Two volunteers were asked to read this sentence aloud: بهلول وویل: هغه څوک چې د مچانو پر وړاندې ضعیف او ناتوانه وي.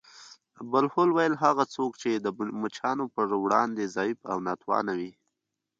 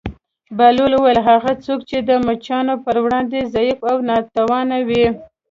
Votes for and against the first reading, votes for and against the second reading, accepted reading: 1, 2, 2, 0, second